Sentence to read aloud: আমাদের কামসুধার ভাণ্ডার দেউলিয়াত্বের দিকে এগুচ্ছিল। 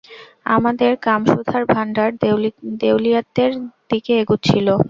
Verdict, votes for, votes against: rejected, 0, 2